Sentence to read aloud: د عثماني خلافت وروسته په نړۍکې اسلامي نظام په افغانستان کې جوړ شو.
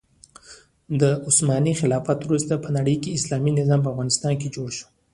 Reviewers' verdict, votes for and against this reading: accepted, 2, 1